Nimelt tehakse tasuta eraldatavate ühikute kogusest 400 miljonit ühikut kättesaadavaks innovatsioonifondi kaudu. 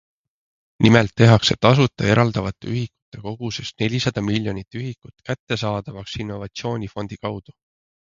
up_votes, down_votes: 0, 2